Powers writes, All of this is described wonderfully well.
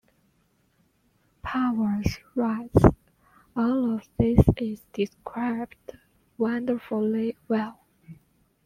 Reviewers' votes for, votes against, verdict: 1, 2, rejected